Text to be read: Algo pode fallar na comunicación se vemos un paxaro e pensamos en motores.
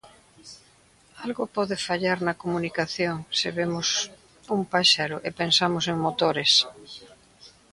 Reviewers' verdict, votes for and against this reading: rejected, 0, 2